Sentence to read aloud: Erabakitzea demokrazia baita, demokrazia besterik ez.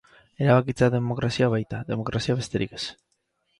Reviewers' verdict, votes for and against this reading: accepted, 4, 0